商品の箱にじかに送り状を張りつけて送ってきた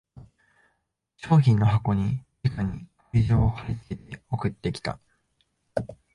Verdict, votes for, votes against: rejected, 0, 2